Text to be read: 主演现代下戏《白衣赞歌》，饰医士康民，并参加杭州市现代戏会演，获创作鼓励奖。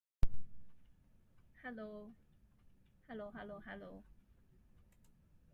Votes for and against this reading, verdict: 0, 2, rejected